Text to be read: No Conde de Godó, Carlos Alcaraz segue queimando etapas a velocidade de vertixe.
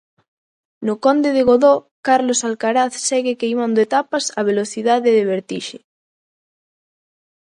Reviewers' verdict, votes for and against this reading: accepted, 2, 0